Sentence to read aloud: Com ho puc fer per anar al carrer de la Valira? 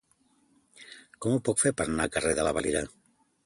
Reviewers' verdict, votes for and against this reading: accepted, 2, 0